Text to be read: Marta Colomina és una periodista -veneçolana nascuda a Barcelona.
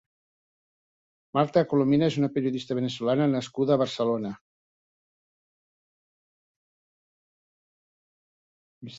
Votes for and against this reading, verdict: 2, 0, accepted